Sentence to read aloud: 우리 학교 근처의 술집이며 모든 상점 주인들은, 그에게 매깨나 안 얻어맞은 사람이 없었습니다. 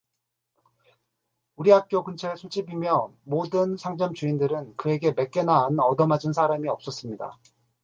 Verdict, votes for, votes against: accepted, 2, 0